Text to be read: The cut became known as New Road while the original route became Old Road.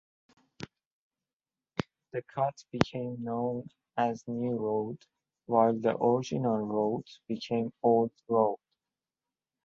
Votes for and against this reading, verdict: 0, 2, rejected